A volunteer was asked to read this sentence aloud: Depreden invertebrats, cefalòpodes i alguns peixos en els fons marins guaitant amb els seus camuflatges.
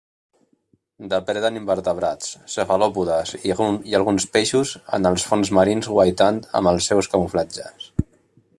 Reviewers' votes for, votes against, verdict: 0, 2, rejected